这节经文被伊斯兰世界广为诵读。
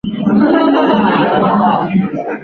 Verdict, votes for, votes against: rejected, 0, 3